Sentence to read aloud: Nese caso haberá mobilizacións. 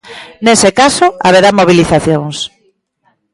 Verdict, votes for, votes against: rejected, 1, 2